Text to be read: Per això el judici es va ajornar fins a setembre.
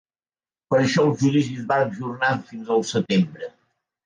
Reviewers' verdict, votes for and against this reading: accepted, 2, 0